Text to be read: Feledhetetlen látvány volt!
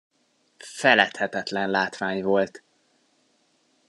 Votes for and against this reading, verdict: 2, 0, accepted